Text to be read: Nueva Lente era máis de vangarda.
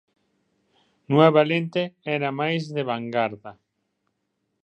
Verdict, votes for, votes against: accepted, 2, 0